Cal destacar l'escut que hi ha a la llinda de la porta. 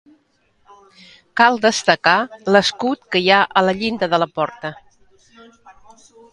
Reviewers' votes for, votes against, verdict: 2, 0, accepted